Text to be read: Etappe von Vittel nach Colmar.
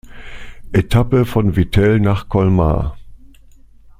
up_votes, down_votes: 2, 0